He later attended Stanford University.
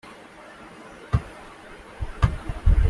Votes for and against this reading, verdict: 0, 2, rejected